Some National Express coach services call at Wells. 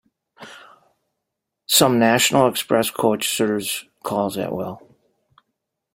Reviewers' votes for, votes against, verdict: 1, 3, rejected